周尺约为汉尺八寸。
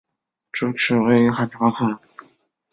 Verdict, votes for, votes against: rejected, 0, 2